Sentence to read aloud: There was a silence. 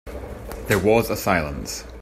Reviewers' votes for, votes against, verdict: 2, 0, accepted